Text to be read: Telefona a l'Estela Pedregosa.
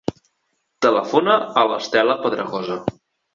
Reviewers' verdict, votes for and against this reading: accepted, 2, 0